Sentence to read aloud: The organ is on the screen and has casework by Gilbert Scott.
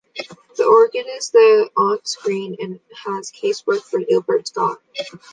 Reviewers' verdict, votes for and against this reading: rejected, 0, 2